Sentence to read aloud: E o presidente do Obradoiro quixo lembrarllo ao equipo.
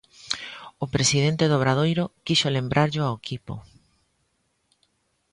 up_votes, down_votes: 0, 2